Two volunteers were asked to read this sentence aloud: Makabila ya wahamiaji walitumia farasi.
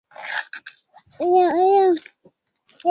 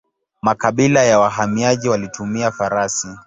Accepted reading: second